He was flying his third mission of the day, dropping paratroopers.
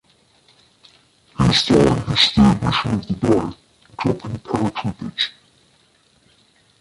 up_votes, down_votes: 0, 2